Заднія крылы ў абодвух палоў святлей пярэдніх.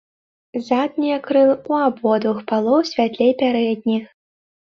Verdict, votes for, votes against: rejected, 1, 2